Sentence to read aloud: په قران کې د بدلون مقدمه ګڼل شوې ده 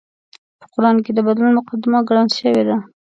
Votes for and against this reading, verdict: 2, 0, accepted